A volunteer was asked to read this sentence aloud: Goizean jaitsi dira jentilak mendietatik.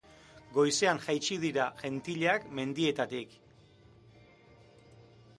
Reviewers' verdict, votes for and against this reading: accepted, 3, 0